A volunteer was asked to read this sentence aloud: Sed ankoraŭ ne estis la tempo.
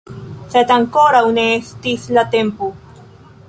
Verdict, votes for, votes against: accepted, 2, 1